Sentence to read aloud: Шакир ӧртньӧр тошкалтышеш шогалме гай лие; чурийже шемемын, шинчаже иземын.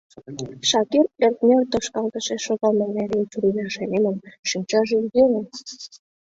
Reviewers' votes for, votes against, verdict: 1, 2, rejected